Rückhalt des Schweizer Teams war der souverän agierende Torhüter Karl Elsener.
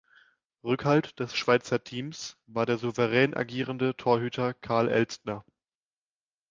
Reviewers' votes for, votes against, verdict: 1, 2, rejected